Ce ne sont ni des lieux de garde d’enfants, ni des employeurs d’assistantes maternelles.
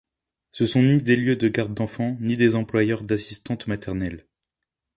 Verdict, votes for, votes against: rejected, 1, 2